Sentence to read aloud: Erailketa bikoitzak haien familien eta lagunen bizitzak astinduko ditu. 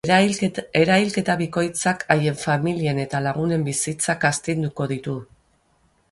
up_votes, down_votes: 0, 6